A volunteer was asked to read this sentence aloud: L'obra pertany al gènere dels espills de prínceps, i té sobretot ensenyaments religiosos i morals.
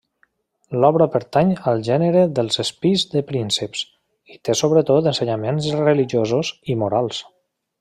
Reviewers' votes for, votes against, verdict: 2, 1, accepted